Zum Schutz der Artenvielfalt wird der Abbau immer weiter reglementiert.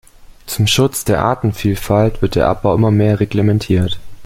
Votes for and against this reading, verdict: 1, 2, rejected